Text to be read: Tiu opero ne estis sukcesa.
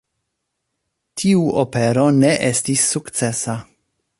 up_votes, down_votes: 2, 0